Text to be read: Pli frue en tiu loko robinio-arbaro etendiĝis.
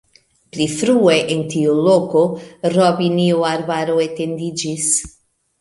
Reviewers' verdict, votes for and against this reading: accepted, 2, 0